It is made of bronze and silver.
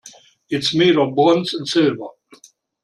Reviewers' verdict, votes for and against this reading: rejected, 1, 2